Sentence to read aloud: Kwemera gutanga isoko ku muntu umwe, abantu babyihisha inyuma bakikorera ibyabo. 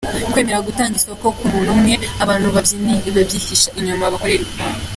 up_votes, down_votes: 0, 2